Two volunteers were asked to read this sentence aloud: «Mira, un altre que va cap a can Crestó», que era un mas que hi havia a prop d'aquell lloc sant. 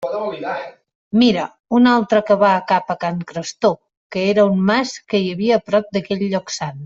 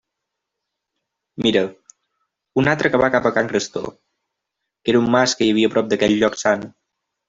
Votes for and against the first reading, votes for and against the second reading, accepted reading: 1, 2, 2, 0, second